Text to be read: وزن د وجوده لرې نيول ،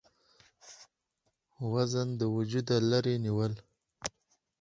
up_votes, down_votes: 2, 2